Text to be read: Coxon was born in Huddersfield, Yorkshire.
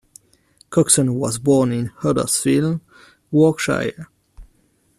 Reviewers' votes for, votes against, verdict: 2, 0, accepted